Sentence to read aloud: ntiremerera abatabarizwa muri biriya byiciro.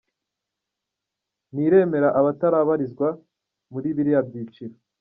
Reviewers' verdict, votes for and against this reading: accepted, 2, 0